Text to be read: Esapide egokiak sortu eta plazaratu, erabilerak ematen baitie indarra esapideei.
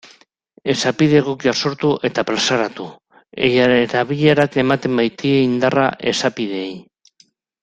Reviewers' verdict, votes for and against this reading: rejected, 0, 2